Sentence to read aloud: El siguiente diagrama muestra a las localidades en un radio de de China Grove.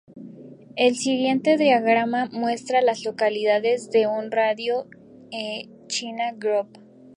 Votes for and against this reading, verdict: 2, 0, accepted